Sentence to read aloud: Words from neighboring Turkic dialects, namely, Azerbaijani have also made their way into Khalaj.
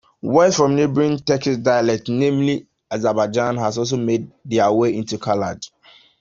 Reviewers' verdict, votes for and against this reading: accepted, 2, 1